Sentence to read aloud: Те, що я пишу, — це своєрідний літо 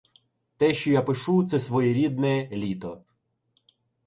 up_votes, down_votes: 0, 2